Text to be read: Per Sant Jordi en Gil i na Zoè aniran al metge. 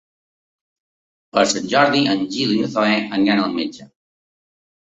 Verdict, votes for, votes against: accepted, 2, 0